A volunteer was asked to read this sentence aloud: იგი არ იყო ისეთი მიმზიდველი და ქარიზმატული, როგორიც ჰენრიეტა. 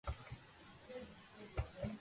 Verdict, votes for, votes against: rejected, 0, 2